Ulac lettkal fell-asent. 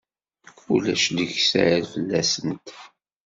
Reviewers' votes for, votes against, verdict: 0, 2, rejected